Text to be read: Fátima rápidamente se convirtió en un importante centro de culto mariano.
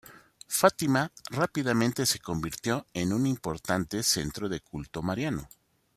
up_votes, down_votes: 2, 1